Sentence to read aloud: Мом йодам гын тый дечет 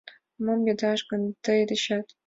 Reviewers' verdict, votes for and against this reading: rejected, 1, 3